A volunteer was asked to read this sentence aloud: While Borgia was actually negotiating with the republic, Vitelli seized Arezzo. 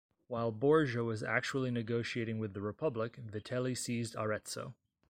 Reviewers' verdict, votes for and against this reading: accepted, 2, 0